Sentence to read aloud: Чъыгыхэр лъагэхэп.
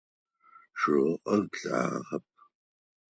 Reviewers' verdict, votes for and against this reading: rejected, 2, 4